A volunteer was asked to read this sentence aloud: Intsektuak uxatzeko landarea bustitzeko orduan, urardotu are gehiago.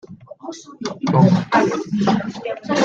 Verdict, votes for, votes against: rejected, 0, 2